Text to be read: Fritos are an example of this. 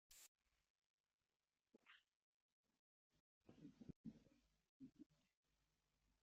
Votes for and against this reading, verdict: 0, 2, rejected